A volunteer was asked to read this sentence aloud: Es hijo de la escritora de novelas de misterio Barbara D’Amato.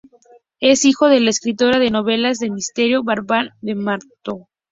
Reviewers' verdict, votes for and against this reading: rejected, 0, 2